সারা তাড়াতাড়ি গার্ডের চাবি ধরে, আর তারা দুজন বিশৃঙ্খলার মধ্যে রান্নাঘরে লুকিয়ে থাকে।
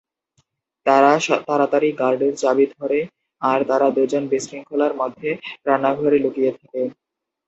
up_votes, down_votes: 0, 4